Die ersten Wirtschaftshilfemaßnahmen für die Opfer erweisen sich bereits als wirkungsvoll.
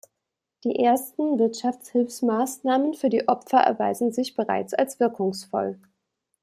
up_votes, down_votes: 0, 2